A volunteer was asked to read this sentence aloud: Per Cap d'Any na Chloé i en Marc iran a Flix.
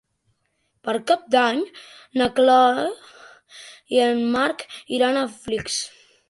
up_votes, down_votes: 0, 2